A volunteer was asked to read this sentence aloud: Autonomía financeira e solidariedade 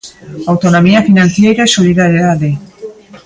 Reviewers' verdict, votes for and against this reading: rejected, 0, 2